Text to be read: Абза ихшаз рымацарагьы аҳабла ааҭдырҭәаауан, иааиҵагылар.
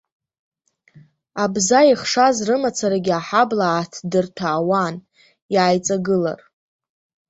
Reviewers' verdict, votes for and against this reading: accepted, 2, 0